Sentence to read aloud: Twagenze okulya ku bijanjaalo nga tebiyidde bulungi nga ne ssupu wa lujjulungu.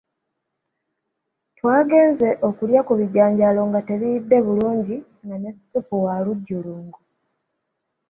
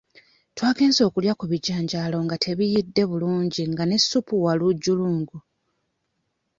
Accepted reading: first